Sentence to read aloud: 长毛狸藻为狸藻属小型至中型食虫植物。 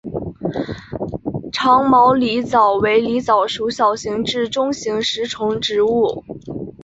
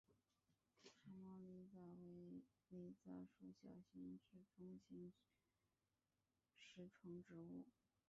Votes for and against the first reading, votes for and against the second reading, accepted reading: 4, 0, 0, 2, first